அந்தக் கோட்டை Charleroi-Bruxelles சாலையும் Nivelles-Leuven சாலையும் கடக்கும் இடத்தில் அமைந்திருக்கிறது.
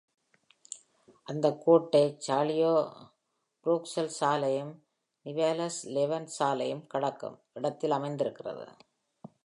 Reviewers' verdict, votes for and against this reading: rejected, 1, 2